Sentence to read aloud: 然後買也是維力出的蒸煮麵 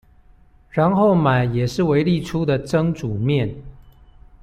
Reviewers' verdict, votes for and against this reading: accepted, 2, 0